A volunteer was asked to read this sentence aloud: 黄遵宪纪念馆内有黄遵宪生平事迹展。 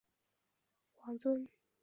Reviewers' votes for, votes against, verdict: 0, 3, rejected